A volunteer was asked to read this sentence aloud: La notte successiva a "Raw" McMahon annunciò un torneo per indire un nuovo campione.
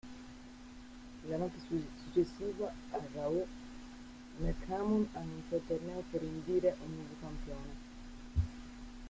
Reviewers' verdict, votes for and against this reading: rejected, 1, 2